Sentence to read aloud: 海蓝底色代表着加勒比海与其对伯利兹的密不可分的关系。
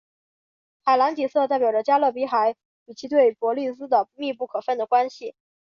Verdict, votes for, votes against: accepted, 3, 0